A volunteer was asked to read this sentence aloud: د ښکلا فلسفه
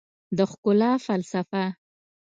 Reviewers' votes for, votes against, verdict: 2, 0, accepted